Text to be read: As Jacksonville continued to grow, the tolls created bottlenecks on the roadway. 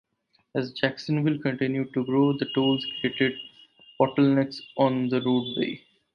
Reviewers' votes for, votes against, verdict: 4, 0, accepted